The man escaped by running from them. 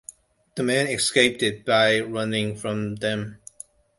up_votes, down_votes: 0, 2